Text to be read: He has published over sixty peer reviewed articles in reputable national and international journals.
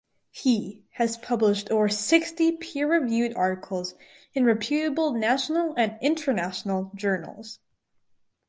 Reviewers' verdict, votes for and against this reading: rejected, 2, 2